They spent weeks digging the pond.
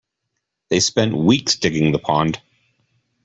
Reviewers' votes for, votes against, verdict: 2, 0, accepted